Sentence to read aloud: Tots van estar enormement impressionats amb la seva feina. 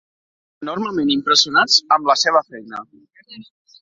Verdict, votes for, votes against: rejected, 0, 2